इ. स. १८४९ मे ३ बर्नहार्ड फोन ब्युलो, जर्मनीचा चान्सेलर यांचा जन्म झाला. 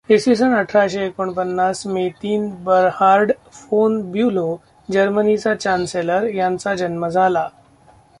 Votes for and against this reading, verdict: 0, 2, rejected